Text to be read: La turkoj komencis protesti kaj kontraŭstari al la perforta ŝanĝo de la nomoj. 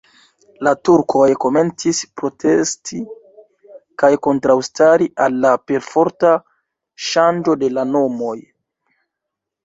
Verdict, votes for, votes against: rejected, 1, 2